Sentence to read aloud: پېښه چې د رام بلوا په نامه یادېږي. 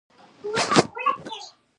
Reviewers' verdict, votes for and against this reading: rejected, 1, 2